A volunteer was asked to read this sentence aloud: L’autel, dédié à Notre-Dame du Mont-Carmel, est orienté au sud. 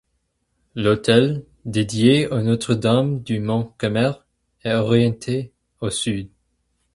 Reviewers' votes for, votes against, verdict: 2, 2, rejected